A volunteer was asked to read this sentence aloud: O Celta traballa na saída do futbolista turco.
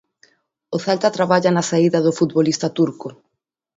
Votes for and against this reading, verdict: 2, 0, accepted